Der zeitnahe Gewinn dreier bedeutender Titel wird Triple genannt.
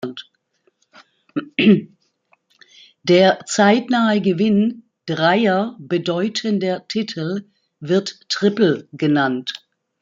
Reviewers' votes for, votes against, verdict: 2, 1, accepted